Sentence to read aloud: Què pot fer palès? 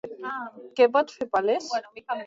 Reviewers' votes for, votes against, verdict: 1, 3, rejected